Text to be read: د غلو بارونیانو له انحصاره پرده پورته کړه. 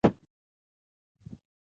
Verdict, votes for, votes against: rejected, 0, 2